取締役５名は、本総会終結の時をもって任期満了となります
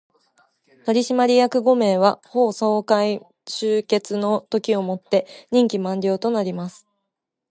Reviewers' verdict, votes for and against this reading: rejected, 0, 2